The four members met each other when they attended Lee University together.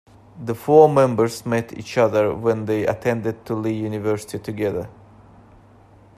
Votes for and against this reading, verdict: 2, 1, accepted